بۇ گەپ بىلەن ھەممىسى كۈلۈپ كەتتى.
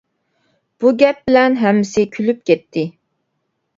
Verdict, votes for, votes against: accepted, 2, 0